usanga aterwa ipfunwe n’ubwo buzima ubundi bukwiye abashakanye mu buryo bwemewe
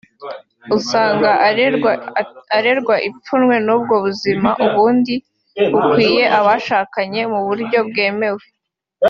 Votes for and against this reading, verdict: 0, 2, rejected